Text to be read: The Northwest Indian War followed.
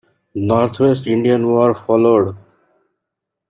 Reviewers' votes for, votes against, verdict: 1, 2, rejected